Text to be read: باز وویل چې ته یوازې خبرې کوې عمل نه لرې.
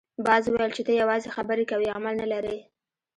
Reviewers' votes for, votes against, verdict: 0, 2, rejected